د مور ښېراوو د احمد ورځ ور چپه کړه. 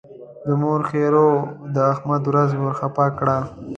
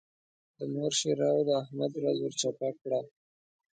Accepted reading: second